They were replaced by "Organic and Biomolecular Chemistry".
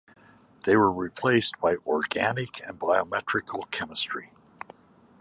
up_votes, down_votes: 0, 2